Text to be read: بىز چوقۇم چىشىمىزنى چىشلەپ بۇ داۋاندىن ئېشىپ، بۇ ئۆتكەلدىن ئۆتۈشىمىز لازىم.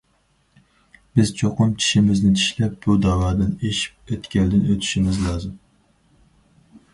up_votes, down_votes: 0, 2